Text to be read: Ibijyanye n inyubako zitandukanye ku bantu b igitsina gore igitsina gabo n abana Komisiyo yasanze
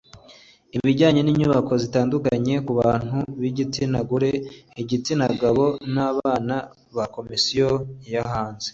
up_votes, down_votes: 1, 2